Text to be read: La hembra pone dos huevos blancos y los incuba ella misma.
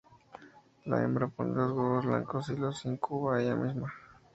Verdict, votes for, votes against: rejected, 0, 4